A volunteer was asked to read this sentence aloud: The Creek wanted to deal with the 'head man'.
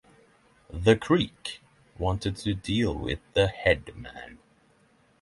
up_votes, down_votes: 6, 0